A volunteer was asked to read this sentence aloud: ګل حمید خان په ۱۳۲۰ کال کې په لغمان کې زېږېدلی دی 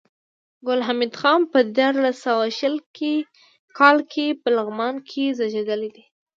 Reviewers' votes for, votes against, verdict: 0, 2, rejected